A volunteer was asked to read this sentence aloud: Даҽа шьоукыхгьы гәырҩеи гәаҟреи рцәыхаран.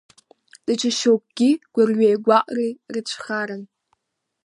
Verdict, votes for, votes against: rejected, 1, 2